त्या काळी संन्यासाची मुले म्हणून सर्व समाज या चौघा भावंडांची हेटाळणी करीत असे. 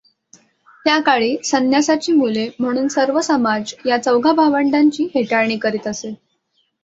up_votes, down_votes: 2, 0